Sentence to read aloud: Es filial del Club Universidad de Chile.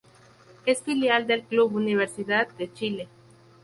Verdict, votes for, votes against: accepted, 2, 0